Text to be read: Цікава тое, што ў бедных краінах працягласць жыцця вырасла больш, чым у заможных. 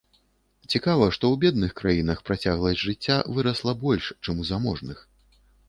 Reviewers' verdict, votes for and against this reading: rejected, 1, 2